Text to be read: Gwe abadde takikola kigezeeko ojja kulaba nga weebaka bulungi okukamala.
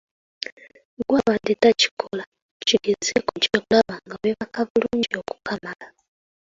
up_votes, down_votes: 0, 2